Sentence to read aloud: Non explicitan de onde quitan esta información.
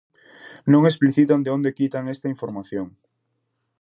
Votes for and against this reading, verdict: 2, 0, accepted